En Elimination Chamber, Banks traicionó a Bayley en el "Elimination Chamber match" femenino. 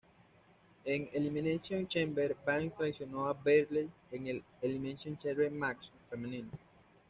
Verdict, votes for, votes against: accepted, 2, 0